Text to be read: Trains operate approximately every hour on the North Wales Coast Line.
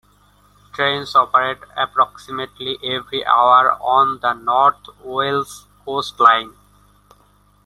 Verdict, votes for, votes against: accepted, 2, 0